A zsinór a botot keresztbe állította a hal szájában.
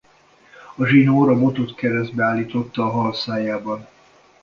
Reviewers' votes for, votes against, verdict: 1, 2, rejected